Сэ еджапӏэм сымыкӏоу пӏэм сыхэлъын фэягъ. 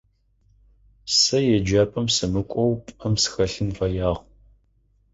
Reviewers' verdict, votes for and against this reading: accepted, 4, 0